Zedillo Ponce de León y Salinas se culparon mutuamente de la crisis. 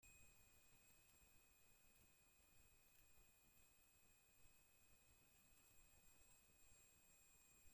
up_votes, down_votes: 0, 2